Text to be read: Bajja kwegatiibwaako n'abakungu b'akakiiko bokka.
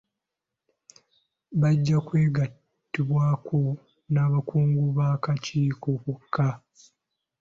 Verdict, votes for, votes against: accepted, 2, 1